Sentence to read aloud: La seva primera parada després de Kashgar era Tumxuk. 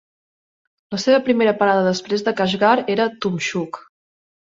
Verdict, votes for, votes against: accepted, 2, 0